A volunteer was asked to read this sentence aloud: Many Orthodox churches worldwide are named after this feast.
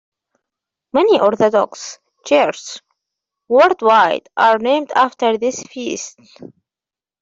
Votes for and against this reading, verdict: 1, 2, rejected